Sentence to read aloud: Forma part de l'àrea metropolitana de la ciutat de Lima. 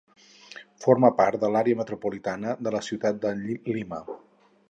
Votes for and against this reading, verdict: 2, 2, rejected